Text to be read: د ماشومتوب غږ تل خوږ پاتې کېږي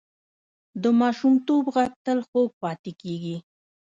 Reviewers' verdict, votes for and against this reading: accepted, 2, 1